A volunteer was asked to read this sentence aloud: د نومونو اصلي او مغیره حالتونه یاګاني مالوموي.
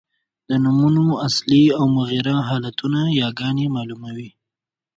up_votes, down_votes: 2, 0